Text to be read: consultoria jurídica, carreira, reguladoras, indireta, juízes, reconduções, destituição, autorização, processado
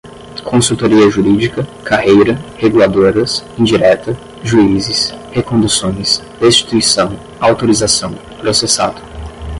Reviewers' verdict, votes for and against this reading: rejected, 0, 5